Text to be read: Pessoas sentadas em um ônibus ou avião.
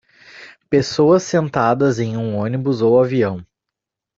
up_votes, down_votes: 2, 0